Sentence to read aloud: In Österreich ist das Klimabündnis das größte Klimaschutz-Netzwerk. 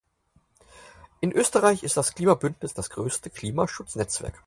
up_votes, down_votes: 4, 0